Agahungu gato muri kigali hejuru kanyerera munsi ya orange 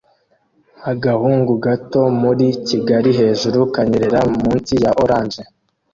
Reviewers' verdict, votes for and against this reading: accepted, 2, 0